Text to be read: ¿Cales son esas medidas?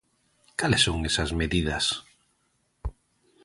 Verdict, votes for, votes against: accepted, 2, 0